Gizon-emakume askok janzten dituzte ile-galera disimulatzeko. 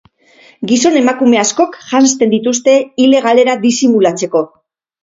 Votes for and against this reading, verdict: 6, 0, accepted